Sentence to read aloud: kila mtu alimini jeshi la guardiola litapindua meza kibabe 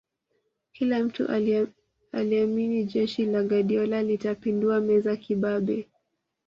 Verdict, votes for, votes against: rejected, 1, 2